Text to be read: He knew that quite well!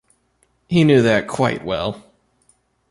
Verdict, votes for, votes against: accepted, 2, 0